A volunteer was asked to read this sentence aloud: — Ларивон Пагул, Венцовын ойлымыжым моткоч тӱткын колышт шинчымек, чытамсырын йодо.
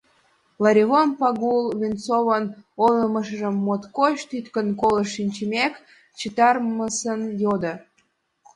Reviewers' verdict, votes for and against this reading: rejected, 1, 2